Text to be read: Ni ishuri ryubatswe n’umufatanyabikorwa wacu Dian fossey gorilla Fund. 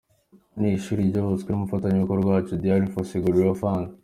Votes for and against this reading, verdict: 2, 0, accepted